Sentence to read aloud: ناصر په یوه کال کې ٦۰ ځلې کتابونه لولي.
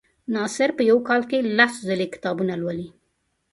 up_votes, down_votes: 0, 2